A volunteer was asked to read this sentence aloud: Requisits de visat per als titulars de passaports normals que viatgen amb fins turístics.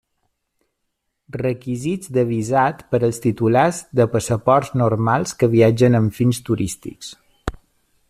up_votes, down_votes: 1, 2